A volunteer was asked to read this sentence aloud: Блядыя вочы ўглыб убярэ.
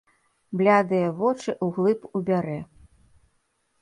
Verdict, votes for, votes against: rejected, 1, 2